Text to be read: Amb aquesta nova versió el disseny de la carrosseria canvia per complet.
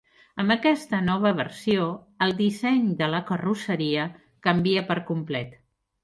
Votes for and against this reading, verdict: 3, 0, accepted